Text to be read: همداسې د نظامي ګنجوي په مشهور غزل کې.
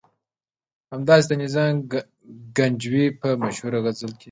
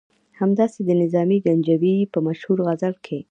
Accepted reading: first